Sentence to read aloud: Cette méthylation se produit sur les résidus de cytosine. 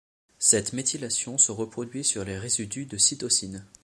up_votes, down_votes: 1, 2